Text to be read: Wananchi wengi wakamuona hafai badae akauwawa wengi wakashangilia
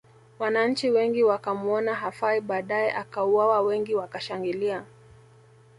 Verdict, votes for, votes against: accepted, 2, 0